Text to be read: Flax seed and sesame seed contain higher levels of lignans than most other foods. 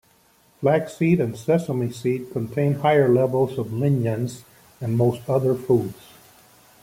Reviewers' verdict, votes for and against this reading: accepted, 2, 1